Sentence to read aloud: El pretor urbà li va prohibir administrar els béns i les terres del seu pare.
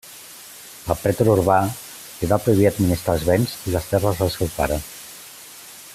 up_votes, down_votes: 2, 0